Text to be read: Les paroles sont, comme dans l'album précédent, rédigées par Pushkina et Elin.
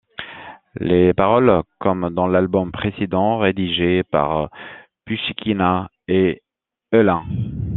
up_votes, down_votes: 0, 2